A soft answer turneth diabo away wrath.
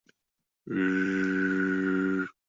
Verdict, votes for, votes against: rejected, 1, 2